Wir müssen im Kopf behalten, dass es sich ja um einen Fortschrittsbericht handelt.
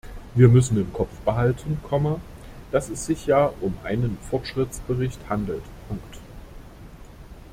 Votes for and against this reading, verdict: 0, 2, rejected